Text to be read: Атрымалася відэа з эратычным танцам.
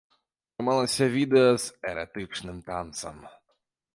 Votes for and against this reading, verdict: 0, 2, rejected